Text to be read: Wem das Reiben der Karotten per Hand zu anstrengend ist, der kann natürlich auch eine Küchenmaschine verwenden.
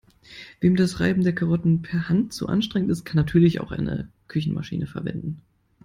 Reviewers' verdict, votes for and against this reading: rejected, 0, 2